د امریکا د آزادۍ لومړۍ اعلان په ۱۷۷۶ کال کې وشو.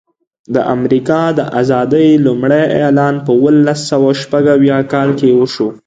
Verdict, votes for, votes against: rejected, 0, 2